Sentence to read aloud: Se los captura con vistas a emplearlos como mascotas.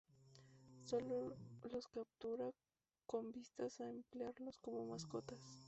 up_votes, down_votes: 0, 4